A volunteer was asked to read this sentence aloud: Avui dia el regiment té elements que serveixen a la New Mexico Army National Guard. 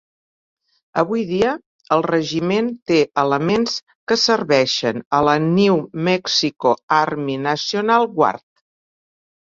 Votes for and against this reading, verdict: 3, 1, accepted